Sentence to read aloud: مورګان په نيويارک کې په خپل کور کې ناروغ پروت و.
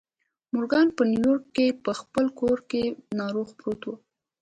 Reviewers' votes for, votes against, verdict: 3, 0, accepted